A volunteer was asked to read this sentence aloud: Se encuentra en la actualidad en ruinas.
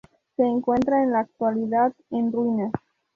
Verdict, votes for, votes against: accepted, 2, 0